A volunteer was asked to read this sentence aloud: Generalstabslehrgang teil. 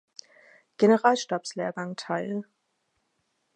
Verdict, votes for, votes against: accepted, 4, 0